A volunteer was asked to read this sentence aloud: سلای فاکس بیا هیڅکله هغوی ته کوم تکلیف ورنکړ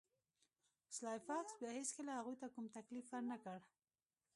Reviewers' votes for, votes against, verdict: 1, 2, rejected